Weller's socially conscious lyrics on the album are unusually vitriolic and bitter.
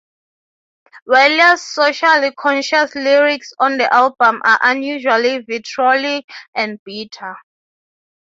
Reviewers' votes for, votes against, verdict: 3, 0, accepted